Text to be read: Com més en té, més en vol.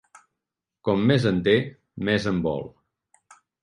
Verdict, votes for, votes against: accepted, 3, 0